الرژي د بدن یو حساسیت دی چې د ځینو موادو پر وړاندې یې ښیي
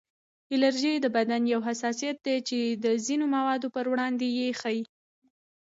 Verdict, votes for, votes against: accepted, 2, 0